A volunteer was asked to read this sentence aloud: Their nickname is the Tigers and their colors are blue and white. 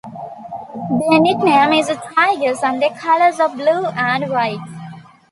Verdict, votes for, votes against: accepted, 2, 0